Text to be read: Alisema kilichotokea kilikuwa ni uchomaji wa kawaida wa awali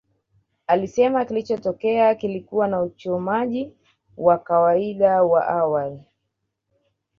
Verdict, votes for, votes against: rejected, 0, 2